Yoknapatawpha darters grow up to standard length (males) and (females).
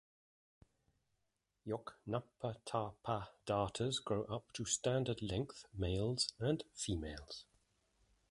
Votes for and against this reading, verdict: 1, 2, rejected